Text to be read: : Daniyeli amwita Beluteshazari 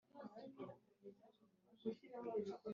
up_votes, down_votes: 1, 2